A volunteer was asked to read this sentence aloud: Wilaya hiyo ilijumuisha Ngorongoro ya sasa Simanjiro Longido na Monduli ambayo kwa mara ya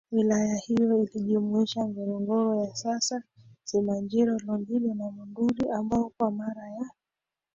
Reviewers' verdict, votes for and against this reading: rejected, 1, 2